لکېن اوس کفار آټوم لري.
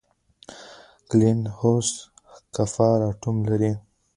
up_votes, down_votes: 1, 2